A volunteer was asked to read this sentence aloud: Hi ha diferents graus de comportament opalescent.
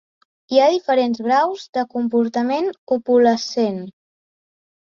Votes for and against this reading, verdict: 1, 2, rejected